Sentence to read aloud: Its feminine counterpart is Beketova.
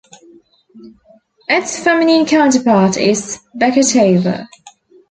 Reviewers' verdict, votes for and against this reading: accepted, 2, 1